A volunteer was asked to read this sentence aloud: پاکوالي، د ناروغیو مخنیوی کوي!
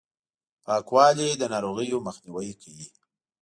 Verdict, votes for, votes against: accepted, 2, 0